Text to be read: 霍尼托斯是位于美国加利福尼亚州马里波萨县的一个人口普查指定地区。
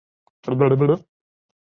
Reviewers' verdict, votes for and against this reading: rejected, 0, 3